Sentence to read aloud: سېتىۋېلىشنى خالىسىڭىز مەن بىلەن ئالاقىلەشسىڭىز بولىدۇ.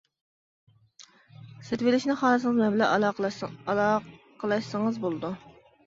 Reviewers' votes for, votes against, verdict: 0, 2, rejected